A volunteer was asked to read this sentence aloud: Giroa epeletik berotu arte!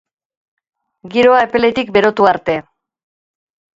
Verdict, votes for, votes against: accepted, 2, 0